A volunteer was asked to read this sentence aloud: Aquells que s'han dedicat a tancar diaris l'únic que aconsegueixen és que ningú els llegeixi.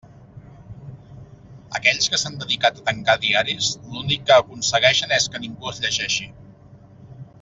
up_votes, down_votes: 2, 0